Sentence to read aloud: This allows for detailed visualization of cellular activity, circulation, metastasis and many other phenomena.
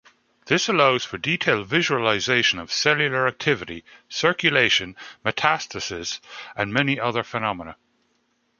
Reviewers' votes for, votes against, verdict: 1, 2, rejected